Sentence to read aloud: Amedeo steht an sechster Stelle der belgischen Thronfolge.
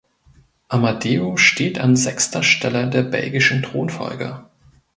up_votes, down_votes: 1, 2